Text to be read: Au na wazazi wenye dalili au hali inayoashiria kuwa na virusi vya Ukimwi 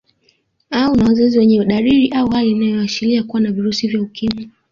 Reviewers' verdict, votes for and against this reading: accepted, 2, 0